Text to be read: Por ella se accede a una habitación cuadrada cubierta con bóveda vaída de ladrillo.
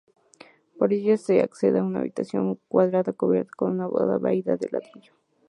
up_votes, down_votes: 0, 4